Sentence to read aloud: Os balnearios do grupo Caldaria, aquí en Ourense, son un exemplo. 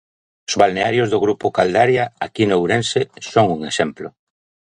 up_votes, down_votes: 2, 0